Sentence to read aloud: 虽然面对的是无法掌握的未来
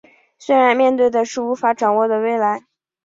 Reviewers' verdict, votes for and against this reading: accepted, 5, 0